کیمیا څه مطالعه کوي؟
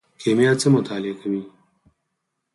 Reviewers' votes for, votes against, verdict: 6, 2, accepted